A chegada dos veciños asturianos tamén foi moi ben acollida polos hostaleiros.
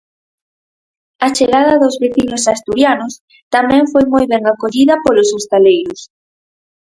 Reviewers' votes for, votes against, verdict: 4, 0, accepted